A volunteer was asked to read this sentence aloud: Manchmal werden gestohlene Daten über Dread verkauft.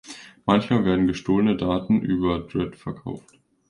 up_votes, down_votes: 2, 0